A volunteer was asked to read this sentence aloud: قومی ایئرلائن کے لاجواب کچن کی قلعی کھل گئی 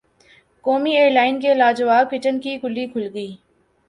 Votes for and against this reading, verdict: 0, 2, rejected